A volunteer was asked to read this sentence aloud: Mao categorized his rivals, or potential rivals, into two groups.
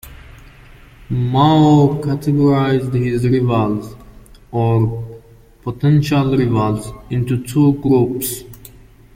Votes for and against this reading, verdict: 1, 2, rejected